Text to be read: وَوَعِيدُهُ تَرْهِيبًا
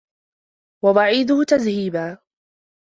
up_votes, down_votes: 1, 2